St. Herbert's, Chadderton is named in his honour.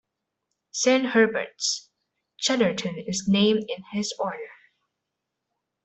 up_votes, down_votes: 0, 2